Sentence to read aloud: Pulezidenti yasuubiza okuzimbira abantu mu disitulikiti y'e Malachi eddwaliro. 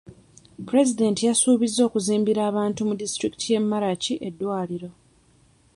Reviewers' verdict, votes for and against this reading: accepted, 2, 1